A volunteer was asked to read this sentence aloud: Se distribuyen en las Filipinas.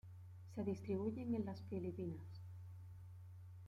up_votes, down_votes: 2, 1